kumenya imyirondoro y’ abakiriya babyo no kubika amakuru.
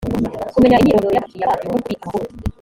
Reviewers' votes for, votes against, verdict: 1, 2, rejected